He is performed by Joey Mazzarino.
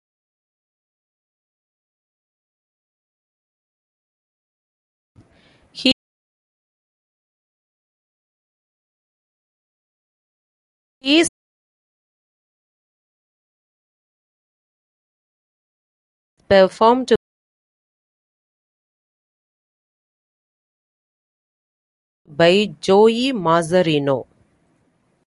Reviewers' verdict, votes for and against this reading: rejected, 1, 2